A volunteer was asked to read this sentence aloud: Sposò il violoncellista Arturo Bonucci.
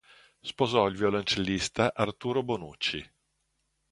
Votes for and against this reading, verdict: 2, 0, accepted